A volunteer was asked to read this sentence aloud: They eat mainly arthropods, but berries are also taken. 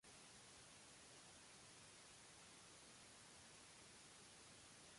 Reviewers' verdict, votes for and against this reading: rejected, 0, 2